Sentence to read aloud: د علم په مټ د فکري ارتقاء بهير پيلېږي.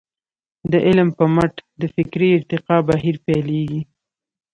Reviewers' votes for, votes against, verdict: 2, 0, accepted